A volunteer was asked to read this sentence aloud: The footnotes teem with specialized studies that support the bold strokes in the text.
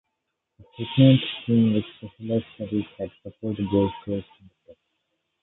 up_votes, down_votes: 0, 2